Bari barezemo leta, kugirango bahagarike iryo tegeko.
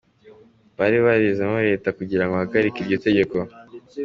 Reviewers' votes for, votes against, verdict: 2, 0, accepted